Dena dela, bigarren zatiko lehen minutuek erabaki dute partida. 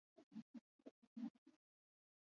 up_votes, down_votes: 0, 6